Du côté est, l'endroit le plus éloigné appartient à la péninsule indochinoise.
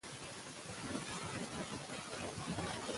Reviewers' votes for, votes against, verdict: 0, 2, rejected